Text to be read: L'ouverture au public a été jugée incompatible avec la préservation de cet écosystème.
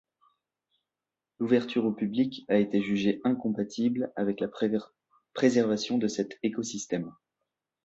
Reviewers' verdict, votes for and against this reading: rejected, 0, 2